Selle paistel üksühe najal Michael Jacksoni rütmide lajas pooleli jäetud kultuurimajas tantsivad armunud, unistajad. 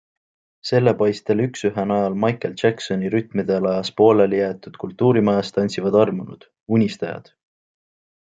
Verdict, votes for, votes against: accepted, 2, 0